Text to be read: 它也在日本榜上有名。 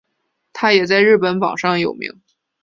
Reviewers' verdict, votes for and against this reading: accepted, 2, 0